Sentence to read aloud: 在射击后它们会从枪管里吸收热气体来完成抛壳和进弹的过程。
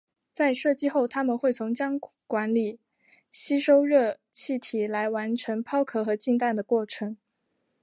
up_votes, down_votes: 2, 0